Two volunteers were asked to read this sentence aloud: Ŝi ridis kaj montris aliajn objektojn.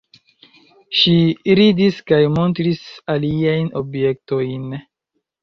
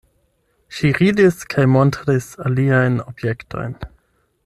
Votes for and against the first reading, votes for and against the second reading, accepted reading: 1, 2, 8, 0, second